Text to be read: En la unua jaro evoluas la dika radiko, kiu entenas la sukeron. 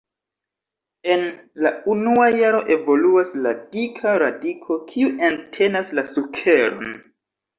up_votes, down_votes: 1, 2